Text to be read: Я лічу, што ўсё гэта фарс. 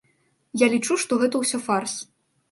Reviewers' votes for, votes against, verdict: 1, 2, rejected